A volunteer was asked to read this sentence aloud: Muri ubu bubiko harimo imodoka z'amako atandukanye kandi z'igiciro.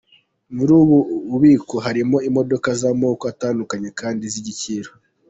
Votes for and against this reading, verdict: 2, 0, accepted